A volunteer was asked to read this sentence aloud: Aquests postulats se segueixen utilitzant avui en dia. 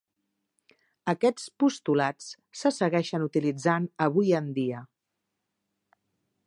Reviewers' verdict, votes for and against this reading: accepted, 2, 0